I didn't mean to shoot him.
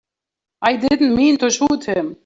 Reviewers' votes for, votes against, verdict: 2, 3, rejected